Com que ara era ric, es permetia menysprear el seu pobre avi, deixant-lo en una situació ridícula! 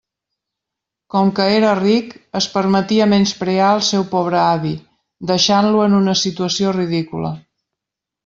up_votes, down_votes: 0, 2